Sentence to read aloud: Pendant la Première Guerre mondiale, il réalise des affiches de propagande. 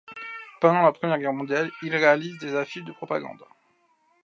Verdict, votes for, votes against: accepted, 2, 1